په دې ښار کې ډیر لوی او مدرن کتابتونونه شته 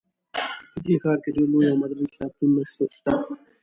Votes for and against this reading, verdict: 1, 2, rejected